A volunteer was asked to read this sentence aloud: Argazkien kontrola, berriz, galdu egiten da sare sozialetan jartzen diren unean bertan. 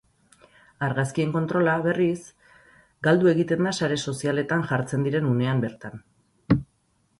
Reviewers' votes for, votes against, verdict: 6, 0, accepted